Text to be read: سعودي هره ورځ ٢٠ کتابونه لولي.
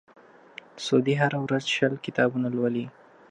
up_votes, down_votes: 0, 2